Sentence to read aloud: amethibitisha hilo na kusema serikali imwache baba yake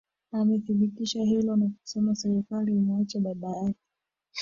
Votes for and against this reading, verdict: 0, 2, rejected